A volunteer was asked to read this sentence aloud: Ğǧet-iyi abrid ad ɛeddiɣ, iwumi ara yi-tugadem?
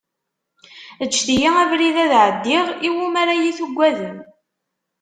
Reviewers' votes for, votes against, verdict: 2, 0, accepted